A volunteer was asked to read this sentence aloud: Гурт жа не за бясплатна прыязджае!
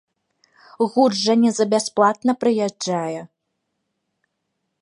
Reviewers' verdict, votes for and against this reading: rejected, 0, 2